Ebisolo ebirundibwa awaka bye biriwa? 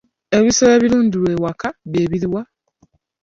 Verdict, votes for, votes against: rejected, 1, 2